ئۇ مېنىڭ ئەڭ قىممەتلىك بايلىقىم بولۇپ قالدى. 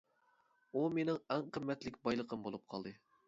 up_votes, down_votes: 2, 0